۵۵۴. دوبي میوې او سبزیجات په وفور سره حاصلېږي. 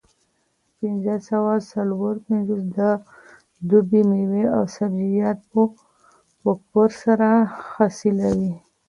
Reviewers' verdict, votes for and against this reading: rejected, 0, 2